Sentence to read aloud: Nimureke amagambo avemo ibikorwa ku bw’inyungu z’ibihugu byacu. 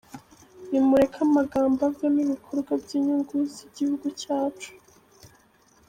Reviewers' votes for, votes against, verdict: 0, 2, rejected